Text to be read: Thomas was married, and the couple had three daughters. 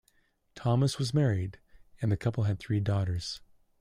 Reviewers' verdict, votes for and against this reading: accepted, 2, 0